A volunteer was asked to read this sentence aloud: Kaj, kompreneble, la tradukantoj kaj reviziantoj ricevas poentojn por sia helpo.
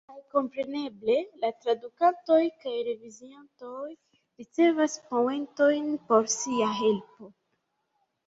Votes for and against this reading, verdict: 1, 2, rejected